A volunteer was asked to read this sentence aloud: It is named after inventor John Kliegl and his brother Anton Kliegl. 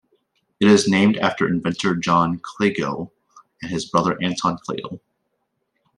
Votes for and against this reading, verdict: 2, 0, accepted